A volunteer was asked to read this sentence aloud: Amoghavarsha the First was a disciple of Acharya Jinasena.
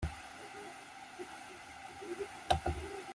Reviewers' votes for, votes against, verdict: 0, 2, rejected